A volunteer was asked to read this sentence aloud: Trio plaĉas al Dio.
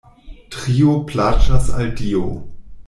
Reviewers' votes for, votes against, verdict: 2, 0, accepted